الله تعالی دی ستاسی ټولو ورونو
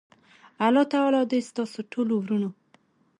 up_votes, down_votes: 2, 0